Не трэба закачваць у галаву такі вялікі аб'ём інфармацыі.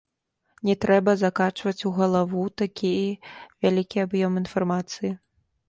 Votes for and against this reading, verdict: 2, 3, rejected